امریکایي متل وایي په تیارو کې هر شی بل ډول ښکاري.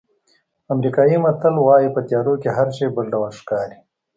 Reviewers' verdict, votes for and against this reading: accepted, 2, 0